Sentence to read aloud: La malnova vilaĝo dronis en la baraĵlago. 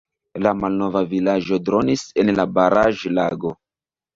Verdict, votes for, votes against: rejected, 1, 2